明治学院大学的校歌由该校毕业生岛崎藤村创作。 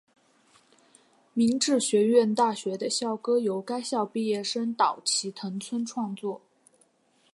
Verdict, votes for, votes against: accepted, 9, 0